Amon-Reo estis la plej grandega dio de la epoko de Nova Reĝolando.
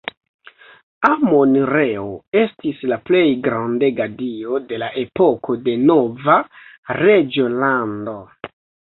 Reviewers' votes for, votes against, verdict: 2, 3, rejected